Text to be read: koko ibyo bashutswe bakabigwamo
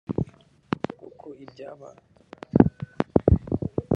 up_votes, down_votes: 0, 2